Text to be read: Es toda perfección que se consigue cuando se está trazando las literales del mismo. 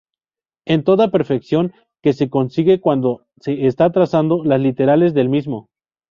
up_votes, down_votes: 0, 2